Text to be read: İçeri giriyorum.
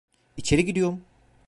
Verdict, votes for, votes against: rejected, 1, 2